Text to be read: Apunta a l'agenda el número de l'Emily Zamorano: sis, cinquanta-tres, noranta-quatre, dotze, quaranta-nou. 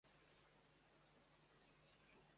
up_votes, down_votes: 0, 2